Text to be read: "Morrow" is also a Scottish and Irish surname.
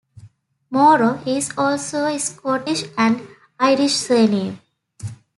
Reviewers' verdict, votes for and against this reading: accepted, 2, 0